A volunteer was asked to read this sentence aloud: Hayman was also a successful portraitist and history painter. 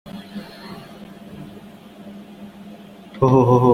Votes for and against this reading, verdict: 0, 2, rejected